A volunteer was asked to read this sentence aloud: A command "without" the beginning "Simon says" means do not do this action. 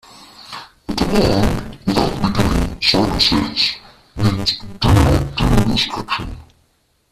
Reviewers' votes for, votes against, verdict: 0, 2, rejected